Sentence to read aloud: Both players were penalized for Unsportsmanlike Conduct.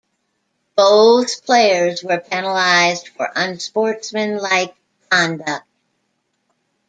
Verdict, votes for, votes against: rejected, 1, 3